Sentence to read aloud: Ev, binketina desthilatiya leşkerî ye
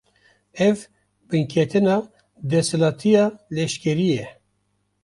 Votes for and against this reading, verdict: 2, 0, accepted